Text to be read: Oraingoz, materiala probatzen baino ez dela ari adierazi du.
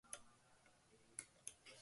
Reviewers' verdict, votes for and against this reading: rejected, 0, 2